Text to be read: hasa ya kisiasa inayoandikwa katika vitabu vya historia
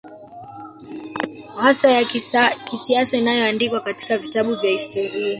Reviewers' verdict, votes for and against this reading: rejected, 1, 2